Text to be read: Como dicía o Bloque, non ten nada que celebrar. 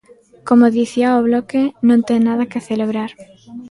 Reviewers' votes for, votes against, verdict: 0, 2, rejected